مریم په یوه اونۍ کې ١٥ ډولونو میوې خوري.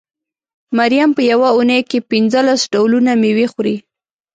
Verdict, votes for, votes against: rejected, 0, 2